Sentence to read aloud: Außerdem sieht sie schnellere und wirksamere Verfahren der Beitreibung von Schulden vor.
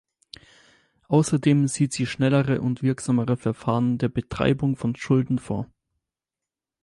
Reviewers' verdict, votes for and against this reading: rejected, 2, 4